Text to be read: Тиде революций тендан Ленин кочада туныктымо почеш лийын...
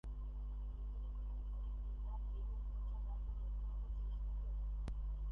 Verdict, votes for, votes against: rejected, 0, 2